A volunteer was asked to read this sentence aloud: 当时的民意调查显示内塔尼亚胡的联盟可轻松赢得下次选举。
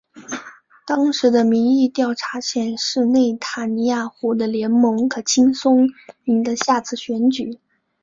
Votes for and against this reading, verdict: 4, 0, accepted